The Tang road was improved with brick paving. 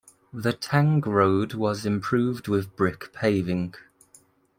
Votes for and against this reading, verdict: 1, 2, rejected